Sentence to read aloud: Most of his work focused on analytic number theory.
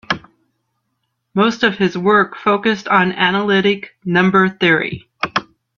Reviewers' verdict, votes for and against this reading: accepted, 2, 1